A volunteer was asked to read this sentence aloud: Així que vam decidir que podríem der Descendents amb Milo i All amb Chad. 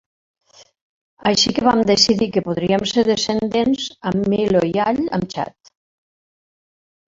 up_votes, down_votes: 1, 2